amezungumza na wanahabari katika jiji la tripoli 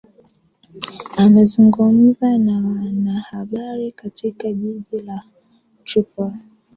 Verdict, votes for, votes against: accepted, 2, 1